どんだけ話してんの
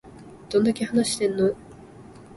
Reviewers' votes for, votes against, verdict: 35, 2, accepted